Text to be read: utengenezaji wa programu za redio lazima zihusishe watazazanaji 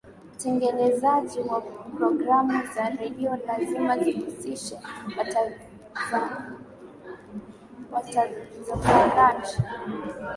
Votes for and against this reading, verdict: 0, 2, rejected